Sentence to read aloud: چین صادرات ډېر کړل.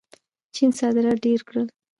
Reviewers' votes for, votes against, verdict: 0, 2, rejected